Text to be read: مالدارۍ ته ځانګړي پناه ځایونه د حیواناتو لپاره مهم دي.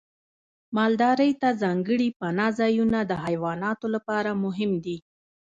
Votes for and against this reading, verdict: 1, 2, rejected